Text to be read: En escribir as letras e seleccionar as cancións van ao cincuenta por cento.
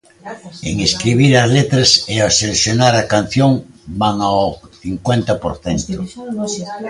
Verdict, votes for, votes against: rejected, 0, 2